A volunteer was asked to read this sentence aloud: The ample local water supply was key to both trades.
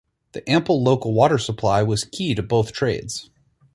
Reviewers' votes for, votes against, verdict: 4, 0, accepted